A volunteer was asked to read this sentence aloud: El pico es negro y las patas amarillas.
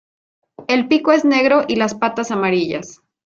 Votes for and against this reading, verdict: 2, 0, accepted